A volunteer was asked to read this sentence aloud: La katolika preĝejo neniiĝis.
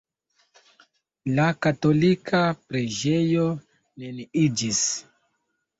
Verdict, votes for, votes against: accepted, 2, 1